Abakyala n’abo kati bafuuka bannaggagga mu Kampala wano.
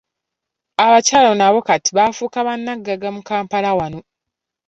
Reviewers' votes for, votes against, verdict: 2, 0, accepted